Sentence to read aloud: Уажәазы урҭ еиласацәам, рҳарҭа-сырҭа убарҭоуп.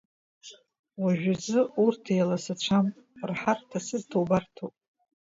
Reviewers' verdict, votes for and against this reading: accepted, 2, 1